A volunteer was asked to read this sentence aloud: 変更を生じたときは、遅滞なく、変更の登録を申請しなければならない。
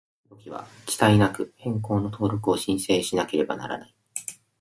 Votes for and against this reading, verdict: 0, 2, rejected